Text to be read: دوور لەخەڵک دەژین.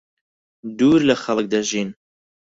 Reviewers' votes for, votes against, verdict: 4, 0, accepted